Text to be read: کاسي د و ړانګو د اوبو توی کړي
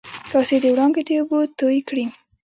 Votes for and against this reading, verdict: 1, 2, rejected